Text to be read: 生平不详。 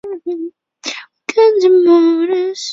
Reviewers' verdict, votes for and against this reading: rejected, 0, 5